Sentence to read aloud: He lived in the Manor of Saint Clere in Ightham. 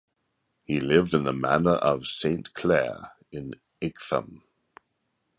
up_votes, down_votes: 0, 2